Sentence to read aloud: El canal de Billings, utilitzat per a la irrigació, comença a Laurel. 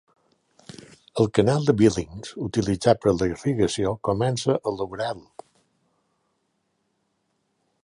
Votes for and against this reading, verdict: 1, 2, rejected